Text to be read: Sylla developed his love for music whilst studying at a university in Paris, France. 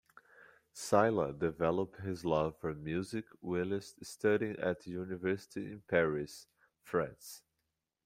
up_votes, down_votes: 2, 1